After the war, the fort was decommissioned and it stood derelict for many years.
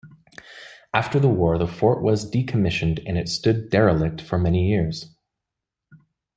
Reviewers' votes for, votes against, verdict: 2, 0, accepted